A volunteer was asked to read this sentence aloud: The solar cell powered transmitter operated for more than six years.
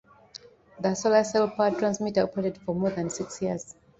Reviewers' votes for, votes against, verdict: 2, 0, accepted